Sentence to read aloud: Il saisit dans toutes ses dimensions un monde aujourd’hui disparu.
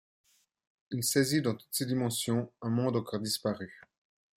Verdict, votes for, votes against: rejected, 0, 2